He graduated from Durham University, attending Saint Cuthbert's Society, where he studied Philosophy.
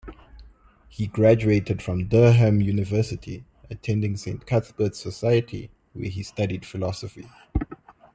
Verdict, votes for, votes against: accepted, 2, 0